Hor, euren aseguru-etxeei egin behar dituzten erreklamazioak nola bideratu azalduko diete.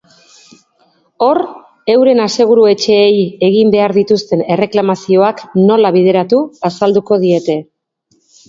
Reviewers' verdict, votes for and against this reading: accepted, 3, 0